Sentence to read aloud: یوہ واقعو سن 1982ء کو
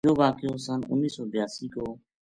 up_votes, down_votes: 0, 2